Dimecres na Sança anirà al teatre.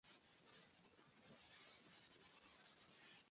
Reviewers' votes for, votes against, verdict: 1, 2, rejected